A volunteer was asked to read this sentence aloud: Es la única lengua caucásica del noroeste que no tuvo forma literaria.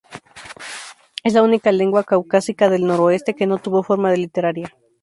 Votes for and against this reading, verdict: 2, 2, rejected